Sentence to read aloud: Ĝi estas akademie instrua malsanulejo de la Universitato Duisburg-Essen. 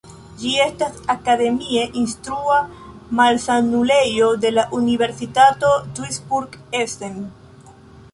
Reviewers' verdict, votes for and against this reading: accepted, 2, 1